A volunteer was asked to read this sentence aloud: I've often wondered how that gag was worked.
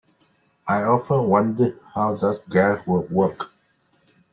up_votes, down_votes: 1, 2